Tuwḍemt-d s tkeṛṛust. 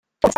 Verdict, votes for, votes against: rejected, 1, 2